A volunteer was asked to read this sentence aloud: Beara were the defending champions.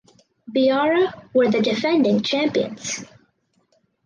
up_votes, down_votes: 4, 0